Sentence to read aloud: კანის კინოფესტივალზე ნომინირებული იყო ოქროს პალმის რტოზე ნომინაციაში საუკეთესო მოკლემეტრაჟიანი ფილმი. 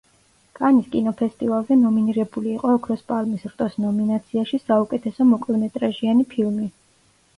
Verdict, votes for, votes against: rejected, 1, 2